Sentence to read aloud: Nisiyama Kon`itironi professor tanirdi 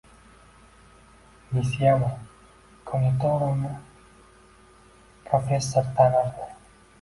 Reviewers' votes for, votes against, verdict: 2, 1, accepted